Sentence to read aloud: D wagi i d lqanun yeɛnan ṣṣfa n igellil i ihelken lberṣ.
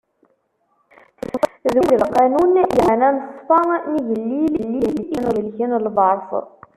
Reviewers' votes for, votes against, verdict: 0, 2, rejected